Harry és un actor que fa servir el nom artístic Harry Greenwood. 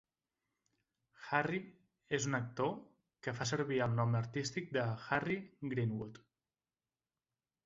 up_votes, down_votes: 1, 3